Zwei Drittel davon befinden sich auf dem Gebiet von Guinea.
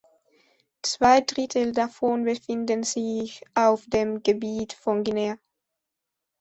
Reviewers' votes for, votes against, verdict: 2, 1, accepted